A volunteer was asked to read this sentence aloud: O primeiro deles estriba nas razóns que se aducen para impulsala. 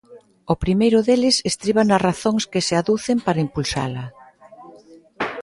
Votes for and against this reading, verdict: 2, 0, accepted